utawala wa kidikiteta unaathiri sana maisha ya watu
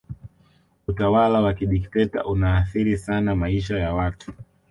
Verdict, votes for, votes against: accepted, 2, 0